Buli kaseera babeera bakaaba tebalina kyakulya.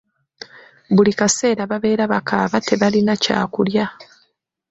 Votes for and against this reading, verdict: 2, 1, accepted